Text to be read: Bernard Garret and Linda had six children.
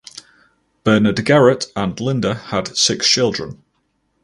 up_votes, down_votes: 4, 0